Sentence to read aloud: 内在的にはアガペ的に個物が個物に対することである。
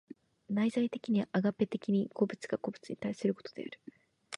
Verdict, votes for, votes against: rejected, 0, 2